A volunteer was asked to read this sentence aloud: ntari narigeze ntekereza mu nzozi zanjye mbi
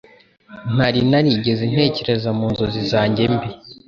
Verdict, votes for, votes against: accepted, 2, 0